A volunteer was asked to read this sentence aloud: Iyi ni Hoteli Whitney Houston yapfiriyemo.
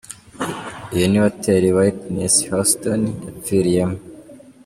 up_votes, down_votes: 1, 2